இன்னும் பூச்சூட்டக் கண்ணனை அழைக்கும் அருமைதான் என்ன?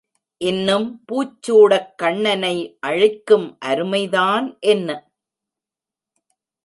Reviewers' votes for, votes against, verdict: 0, 2, rejected